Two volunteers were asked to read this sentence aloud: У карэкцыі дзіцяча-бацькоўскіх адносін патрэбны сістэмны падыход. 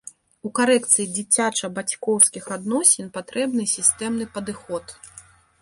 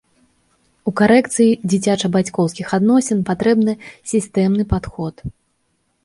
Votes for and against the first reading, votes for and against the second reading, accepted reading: 2, 0, 1, 2, first